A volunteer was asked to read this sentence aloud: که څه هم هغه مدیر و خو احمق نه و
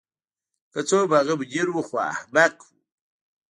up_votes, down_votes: 2, 0